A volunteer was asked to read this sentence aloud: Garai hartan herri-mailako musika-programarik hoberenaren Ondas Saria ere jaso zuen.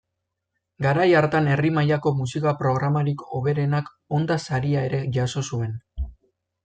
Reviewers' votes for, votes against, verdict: 0, 2, rejected